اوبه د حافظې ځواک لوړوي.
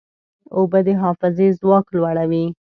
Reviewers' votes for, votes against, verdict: 2, 0, accepted